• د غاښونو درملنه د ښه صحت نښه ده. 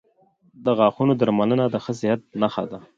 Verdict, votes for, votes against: accepted, 2, 0